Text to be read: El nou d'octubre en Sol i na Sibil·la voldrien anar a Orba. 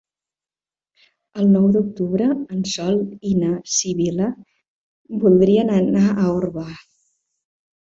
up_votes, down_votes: 2, 1